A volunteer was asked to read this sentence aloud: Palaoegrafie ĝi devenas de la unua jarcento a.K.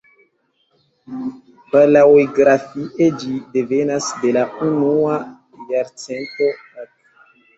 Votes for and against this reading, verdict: 1, 2, rejected